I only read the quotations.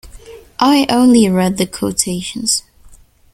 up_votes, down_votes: 2, 0